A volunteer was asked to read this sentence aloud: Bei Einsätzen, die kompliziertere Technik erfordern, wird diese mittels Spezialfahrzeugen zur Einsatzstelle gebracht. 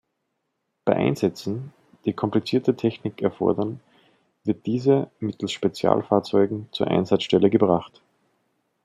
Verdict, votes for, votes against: rejected, 1, 2